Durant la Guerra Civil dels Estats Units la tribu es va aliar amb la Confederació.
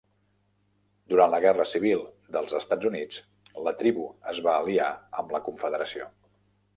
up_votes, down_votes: 0, 2